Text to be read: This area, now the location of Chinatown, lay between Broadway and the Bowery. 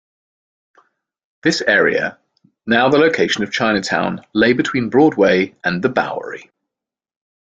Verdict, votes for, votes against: accepted, 2, 0